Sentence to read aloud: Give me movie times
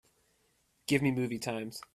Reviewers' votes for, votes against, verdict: 3, 0, accepted